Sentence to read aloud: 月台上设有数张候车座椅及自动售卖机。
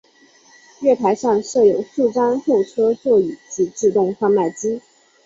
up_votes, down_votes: 4, 0